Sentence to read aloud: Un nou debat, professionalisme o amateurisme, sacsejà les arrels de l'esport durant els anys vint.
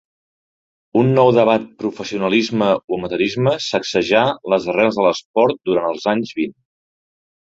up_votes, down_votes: 1, 2